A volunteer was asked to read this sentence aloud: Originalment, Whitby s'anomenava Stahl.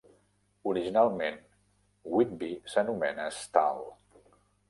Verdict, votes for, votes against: rejected, 1, 2